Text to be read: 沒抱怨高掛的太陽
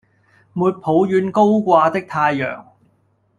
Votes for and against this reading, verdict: 2, 0, accepted